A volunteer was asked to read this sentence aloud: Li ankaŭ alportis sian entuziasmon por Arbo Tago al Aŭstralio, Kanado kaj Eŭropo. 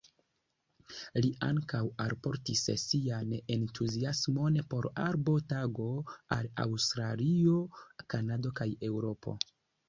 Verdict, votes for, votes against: accepted, 2, 1